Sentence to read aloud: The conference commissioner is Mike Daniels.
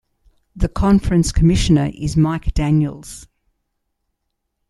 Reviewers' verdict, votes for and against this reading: accepted, 2, 1